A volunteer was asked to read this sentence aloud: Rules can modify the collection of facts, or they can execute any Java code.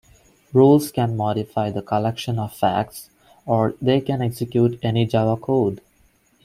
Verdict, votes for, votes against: accepted, 2, 0